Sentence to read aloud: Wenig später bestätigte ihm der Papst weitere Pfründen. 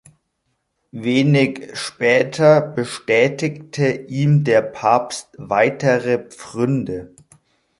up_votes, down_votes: 0, 2